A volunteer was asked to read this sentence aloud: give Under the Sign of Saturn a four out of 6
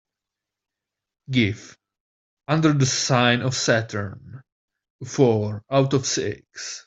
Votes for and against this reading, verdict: 0, 2, rejected